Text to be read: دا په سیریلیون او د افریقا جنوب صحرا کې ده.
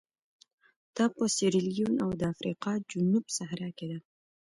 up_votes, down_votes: 2, 0